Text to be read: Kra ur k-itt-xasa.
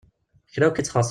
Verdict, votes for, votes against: rejected, 0, 2